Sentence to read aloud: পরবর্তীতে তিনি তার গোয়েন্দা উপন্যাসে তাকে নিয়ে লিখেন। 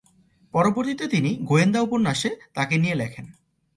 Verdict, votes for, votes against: rejected, 0, 2